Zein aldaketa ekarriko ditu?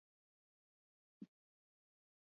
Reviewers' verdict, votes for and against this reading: rejected, 2, 4